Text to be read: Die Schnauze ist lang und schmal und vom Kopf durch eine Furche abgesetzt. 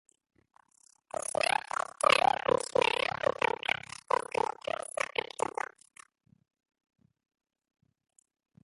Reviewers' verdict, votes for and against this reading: rejected, 0, 2